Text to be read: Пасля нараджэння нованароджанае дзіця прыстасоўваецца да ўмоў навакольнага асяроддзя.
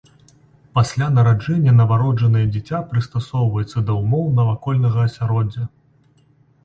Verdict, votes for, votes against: rejected, 1, 2